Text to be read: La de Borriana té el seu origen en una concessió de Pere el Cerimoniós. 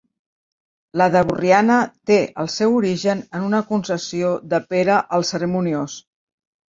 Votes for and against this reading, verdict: 2, 0, accepted